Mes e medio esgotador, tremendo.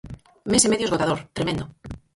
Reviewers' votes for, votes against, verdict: 0, 4, rejected